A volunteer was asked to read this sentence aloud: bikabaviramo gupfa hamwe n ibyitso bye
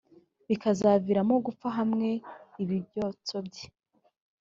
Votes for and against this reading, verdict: 0, 2, rejected